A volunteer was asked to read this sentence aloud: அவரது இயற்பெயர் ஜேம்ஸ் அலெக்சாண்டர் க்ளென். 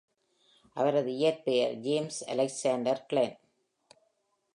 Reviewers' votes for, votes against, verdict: 2, 0, accepted